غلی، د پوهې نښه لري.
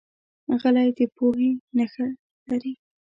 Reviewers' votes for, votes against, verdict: 0, 2, rejected